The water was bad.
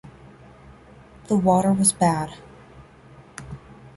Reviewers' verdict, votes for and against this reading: accepted, 2, 0